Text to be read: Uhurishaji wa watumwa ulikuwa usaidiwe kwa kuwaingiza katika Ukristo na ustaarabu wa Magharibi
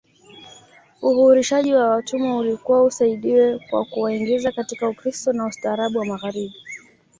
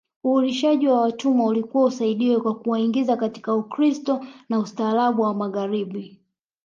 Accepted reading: first